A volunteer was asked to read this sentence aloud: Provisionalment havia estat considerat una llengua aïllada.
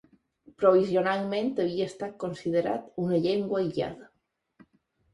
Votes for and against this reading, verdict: 3, 0, accepted